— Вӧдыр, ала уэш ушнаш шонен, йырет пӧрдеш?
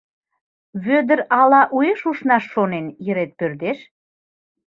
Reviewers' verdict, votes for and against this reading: accepted, 2, 0